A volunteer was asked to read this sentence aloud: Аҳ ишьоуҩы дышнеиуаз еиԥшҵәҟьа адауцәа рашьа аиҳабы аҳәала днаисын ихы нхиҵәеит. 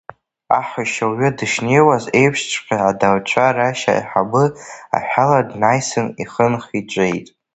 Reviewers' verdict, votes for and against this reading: rejected, 1, 2